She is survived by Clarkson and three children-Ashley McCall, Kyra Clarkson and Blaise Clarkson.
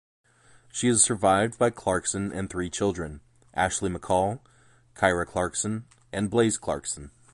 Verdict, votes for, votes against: accepted, 2, 0